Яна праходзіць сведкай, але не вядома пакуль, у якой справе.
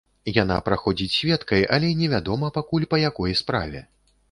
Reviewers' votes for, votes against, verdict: 0, 2, rejected